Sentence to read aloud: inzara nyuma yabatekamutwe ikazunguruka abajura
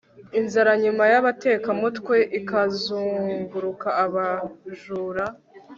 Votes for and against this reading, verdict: 2, 0, accepted